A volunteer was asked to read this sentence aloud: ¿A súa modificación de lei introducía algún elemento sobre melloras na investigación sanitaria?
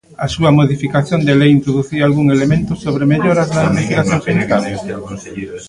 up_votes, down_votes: 0, 2